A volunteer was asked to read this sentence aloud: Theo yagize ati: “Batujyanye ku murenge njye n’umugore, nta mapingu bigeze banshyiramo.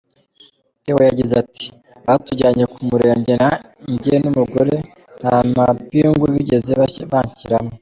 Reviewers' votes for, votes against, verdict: 0, 3, rejected